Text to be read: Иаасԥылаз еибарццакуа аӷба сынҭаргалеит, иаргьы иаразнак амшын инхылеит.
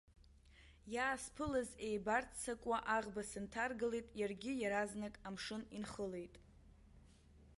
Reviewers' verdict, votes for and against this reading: accepted, 2, 0